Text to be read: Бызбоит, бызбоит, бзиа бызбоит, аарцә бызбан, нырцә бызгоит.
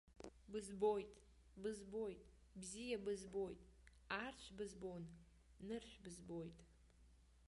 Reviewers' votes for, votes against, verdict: 0, 2, rejected